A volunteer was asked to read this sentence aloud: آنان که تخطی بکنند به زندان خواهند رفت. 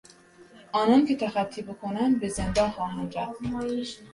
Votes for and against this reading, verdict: 1, 2, rejected